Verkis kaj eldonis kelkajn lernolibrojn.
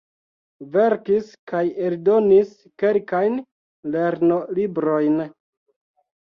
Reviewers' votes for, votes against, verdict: 1, 2, rejected